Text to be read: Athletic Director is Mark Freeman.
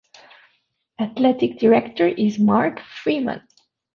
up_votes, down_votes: 2, 0